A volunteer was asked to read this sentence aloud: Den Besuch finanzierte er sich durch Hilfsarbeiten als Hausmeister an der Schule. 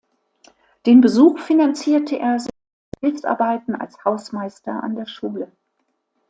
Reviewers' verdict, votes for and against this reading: rejected, 1, 2